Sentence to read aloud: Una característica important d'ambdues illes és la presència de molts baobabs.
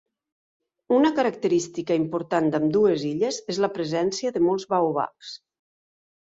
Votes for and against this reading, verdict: 2, 0, accepted